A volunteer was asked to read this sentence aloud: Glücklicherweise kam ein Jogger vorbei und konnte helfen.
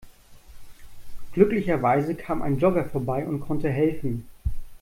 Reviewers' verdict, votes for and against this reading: accepted, 2, 0